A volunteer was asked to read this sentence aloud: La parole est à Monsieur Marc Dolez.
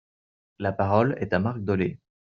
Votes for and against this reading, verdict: 0, 2, rejected